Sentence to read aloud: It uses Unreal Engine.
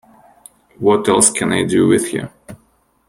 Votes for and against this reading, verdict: 0, 2, rejected